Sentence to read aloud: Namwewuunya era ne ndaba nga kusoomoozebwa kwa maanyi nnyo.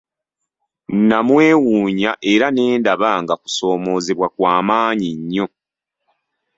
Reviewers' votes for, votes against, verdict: 2, 0, accepted